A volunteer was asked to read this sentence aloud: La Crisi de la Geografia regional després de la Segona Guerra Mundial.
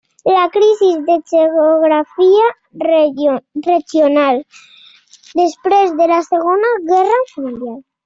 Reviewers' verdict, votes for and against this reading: rejected, 1, 2